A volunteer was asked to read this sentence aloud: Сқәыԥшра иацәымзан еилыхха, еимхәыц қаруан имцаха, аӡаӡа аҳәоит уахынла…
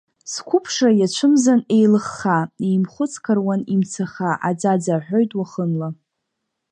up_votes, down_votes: 2, 0